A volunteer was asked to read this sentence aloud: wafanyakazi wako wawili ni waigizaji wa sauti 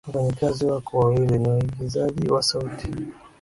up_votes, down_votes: 2, 0